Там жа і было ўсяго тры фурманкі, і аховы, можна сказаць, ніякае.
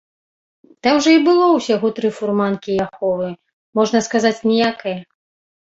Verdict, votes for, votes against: accepted, 2, 1